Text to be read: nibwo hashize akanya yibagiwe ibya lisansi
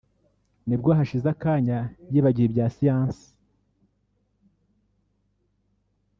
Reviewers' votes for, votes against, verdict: 1, 3, rejected